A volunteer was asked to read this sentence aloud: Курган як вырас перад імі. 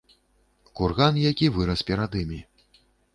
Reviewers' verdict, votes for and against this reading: rejected, 1, 2